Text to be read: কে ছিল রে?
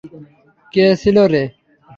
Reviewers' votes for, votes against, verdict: 3, 0, accepted